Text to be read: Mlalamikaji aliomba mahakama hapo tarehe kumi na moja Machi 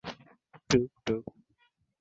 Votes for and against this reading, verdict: 0, 3, rejected